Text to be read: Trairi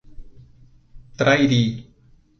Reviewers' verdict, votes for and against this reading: accepted, 2, 0